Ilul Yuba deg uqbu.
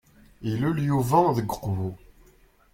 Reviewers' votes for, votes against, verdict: 2, 0, accepted